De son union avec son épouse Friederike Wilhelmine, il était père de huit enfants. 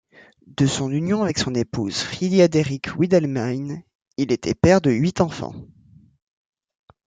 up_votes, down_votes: 0, 2